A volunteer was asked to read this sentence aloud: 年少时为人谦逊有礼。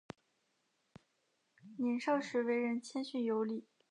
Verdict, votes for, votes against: accepted, 2, 0